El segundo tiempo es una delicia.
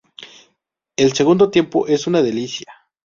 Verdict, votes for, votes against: accepted, 2, 0